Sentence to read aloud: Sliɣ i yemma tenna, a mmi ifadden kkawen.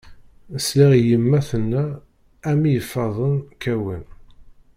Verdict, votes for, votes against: rejected, 0, 2